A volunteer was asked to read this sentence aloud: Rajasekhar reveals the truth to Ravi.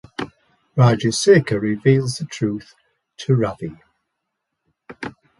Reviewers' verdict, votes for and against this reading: accepted, 2, 0